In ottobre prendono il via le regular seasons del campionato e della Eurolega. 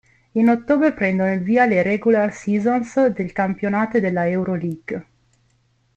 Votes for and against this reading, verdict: 0, 2, rejected